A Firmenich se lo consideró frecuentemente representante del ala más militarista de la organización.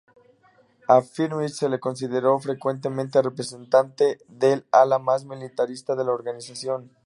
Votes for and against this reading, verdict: 2, 0, accepted